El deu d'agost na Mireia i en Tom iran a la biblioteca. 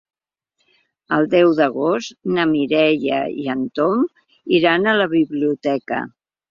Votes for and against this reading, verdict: 2, 0, accepted